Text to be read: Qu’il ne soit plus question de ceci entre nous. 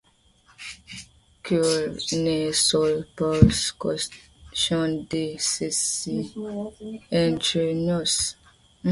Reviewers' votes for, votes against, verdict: 0, 2, rejected